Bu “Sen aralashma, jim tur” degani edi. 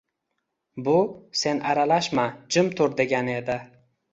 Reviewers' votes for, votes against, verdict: 2, 0, accepted